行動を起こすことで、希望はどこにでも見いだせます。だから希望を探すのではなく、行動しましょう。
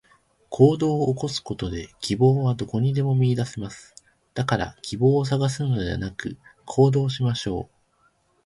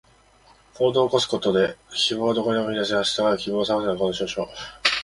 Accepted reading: second